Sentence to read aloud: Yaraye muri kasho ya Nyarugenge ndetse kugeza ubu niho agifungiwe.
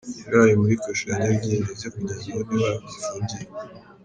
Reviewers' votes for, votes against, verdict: 0, 2, rejected